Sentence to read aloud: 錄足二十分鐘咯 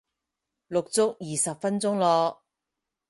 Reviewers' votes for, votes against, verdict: 4, 0, accepted